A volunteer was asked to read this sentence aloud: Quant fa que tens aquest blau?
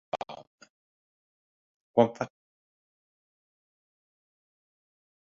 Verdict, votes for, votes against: rejected, 0, 4